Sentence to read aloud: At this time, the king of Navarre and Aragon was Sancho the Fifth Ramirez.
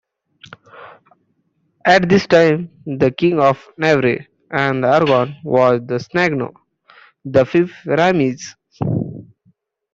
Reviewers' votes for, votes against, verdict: 0, 2, rejected